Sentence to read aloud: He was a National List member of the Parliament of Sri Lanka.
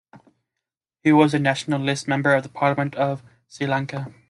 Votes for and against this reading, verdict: 2, 0, accepted